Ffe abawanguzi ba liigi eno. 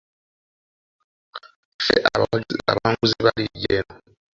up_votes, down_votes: 0, 2